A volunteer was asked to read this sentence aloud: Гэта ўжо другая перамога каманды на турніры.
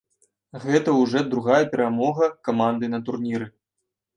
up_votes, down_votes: 0, 2